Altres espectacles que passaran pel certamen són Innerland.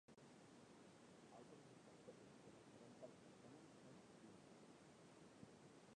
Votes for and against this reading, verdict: 0, 2, rejected